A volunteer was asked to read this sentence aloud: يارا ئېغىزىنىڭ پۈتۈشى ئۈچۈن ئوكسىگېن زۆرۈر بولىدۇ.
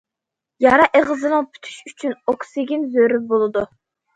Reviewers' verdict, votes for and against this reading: accepted, 2, 0